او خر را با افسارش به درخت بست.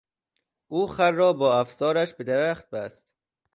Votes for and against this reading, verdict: 2, 1, accepted